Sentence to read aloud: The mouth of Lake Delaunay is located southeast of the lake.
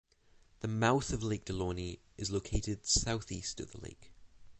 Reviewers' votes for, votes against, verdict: 6, 3, accepted